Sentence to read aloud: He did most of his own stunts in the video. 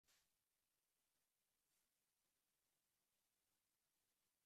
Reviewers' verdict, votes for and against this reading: rejected, 0, 2